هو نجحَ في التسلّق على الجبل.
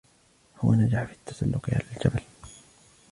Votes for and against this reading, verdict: 0, 2, rejected